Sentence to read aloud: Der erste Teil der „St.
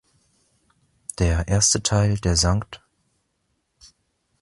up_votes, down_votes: 0, 2